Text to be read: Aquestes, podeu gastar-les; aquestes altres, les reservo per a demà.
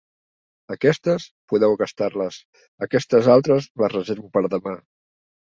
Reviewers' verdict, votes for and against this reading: accepted, 3, 0